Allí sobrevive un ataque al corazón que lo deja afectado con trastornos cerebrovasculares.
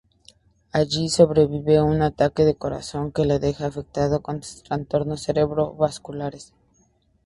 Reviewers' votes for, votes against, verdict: 2, 0, accepted